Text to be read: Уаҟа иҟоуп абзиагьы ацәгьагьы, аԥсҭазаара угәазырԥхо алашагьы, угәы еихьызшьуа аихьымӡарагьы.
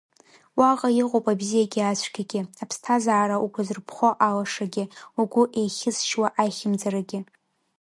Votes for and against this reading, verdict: 2, 0, accepted